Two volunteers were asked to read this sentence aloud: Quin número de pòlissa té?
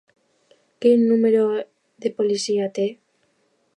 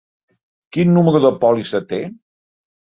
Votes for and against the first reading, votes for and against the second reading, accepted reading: 1, 2, 2, 0, second